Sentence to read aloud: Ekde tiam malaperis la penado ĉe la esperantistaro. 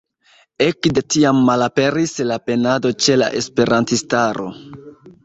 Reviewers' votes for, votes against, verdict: 1, 2, rejected